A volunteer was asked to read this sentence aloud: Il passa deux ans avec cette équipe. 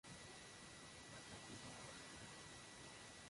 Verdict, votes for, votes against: rejected, 0, 2